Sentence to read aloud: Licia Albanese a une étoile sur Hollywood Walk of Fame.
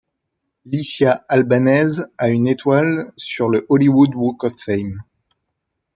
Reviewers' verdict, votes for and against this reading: rejected, 0, 2